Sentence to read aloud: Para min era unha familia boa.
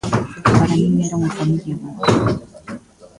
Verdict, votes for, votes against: rejected, 0, 2